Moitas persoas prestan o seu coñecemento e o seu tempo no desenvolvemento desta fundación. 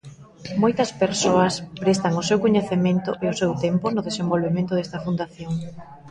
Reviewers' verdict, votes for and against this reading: rejected, 1, 2